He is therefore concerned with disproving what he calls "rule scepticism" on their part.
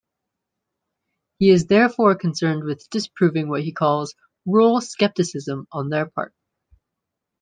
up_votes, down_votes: 2, 0